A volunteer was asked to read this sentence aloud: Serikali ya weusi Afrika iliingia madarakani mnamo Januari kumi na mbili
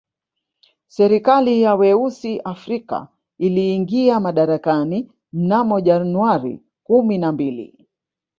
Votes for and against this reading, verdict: 1, 2, rejected